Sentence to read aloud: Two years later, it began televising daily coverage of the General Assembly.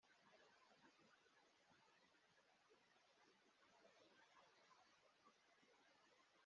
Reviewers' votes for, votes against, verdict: 0, 2, rejected